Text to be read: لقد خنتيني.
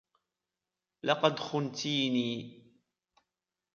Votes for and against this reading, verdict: 2, 1, accepted